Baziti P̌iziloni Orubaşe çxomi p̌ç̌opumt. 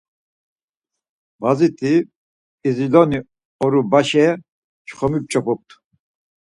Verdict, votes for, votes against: accepted, 4, 0